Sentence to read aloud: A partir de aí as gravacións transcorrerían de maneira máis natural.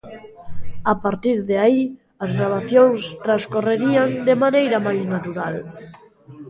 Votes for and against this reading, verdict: 2, 1, accepted